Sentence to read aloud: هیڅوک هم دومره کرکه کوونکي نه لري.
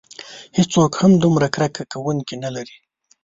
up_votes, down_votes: 2, 0